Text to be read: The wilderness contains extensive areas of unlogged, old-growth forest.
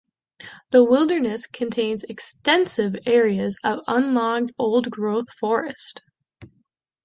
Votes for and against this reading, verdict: 2, 0, accepted